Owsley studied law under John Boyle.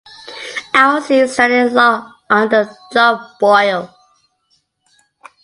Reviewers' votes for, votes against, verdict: 1, 2, rejected